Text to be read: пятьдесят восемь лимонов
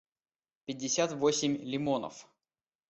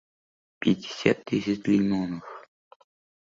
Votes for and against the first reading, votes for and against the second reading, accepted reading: 2, 0, 0, 2, first